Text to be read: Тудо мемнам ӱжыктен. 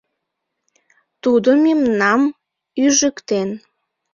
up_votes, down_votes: 2, 0